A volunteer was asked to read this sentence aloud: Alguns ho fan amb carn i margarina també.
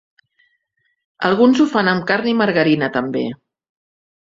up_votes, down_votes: 3, 0